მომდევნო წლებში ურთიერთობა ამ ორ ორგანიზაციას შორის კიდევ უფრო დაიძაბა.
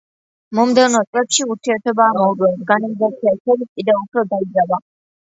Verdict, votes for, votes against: accepted, 2, 0